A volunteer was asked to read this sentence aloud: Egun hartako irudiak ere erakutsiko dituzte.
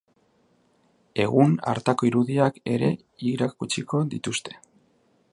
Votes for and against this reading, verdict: 0, 2, rejected